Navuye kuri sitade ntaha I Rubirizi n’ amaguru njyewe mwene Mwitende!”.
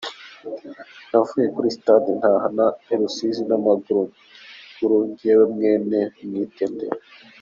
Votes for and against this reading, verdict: 0, 2, rejected